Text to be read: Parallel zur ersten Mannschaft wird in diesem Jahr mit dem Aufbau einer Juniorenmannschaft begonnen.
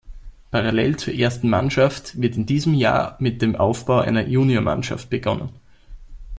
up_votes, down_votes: 0, 2